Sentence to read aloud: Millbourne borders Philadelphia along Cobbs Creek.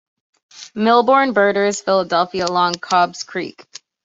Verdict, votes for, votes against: accepted, 2, 0